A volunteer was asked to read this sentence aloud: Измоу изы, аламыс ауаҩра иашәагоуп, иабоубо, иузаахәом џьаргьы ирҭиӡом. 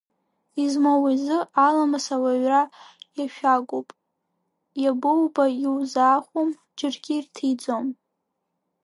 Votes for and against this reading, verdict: 1, 2, rejected